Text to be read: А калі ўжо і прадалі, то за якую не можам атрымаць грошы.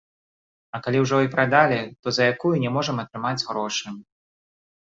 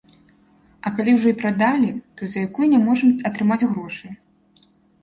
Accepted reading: second